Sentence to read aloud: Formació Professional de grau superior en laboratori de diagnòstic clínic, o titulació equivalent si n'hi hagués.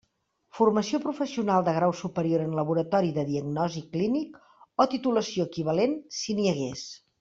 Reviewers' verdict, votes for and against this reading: rejected, 1, 2